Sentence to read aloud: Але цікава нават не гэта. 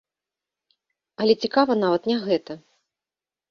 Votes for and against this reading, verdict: 2, 0, accepted